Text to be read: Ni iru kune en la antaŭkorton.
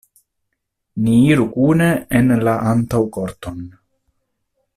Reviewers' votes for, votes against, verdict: 2, 1, accepted